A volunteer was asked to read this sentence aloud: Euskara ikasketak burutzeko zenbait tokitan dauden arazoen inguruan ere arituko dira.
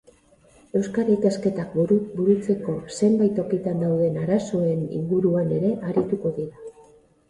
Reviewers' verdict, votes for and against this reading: rejected, 0, 4